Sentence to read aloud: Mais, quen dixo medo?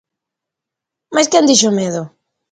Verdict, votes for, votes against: accepted, 2, 0